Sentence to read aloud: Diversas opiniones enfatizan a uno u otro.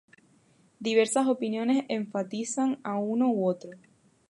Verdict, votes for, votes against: rejected, 0, 2